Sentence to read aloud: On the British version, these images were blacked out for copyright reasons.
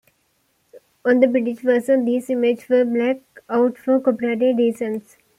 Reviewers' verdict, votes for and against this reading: rejected, 1, 2